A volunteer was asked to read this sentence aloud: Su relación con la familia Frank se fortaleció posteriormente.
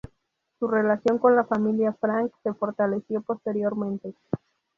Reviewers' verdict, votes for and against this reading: accepted, 2, 0